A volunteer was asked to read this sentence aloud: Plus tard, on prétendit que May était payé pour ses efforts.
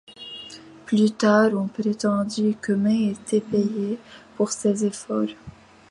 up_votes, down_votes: 2, 1